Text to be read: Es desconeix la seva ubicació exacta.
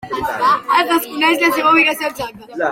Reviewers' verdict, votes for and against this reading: rejected, 0, 2